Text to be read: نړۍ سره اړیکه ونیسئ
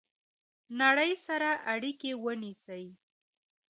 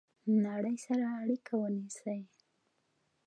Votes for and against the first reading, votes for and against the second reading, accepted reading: 0, 2, 2, 0, second